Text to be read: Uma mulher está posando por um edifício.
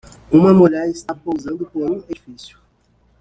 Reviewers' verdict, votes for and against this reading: rejected, 1, 2